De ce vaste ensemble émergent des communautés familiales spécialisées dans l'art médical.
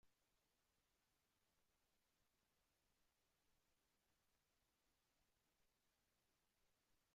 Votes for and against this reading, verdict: 0, 2, rejected